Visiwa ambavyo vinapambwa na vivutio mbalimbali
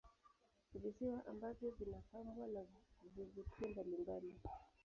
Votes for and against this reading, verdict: 0, 2, rejected